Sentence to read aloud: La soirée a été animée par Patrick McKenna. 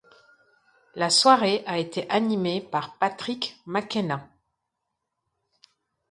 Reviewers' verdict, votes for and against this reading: accepted, 2, 0